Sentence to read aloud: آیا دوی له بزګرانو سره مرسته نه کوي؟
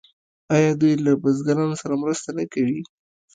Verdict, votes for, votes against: rejected, 0, 2